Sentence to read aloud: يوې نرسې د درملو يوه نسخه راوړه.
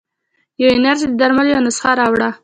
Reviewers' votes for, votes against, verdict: 2, 0, accepted